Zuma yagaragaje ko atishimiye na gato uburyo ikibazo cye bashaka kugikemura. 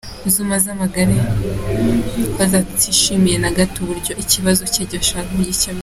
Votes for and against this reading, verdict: 0, 2, rejected